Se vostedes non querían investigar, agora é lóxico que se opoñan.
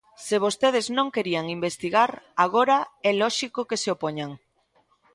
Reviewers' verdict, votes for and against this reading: accepted, 2, 0